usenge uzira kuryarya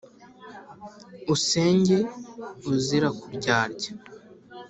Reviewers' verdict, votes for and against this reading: accepted, 3, 0